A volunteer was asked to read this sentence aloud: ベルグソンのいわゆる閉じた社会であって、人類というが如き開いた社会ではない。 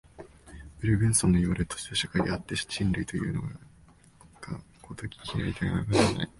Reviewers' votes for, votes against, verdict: 0, 2, rejected